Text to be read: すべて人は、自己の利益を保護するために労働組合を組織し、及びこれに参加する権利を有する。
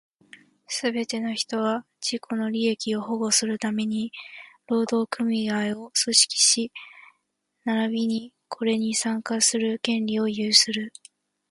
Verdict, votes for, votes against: rejected, 1, 2